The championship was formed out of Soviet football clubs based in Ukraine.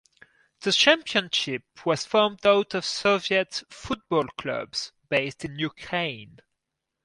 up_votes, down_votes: 2, 2